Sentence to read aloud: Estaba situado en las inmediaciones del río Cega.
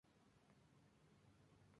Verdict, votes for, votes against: rejected, 0, 2